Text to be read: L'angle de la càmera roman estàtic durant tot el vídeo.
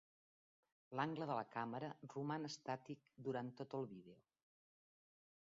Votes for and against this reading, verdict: 1, 3, rejected